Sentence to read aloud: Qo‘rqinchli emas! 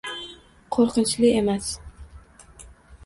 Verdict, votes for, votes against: rejected, 1, 2